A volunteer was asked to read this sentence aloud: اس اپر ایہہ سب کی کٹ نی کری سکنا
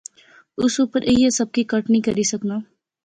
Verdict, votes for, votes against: accepted, 3, 0